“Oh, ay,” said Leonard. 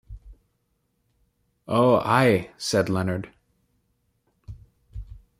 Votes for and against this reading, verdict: 2, 0, accepted